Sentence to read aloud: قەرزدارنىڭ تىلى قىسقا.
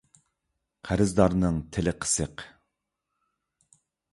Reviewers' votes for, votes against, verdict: 1, 2, rejected